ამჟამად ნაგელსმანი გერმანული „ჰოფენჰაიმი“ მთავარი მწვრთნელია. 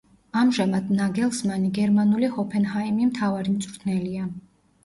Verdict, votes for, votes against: accepted, 2, 1